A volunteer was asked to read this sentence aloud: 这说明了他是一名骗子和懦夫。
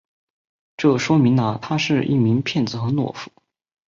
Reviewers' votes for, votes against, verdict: 4, 0, accepted